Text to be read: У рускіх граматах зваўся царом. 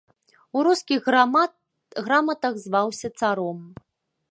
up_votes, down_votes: 0, 2